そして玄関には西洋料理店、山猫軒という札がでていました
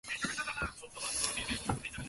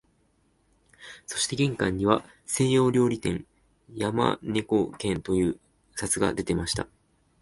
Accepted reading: second